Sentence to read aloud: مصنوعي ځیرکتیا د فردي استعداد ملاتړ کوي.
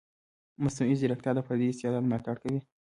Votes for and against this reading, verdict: 1, 2, rejected